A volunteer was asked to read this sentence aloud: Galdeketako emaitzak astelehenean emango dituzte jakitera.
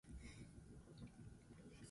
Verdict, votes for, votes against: rejected, 0, 4